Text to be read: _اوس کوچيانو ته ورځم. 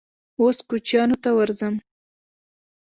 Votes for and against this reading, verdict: 2, 0, accepted